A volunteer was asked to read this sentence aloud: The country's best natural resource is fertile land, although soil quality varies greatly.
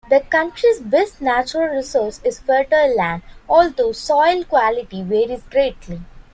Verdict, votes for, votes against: accepted, 2, 0